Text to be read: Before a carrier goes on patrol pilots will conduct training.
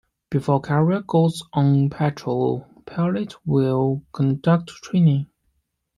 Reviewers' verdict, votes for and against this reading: rejected, 0, 2